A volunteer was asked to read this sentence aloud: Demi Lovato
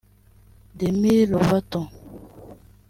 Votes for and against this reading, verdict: 0, 2, rejected